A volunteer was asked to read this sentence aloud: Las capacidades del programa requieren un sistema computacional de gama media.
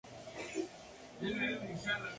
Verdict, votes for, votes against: rejected, 0, 4